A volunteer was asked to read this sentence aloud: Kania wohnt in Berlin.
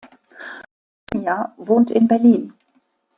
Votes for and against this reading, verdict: 0, 2, rejected